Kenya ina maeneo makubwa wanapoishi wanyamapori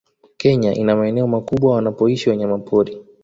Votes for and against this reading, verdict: 2, 0, accepted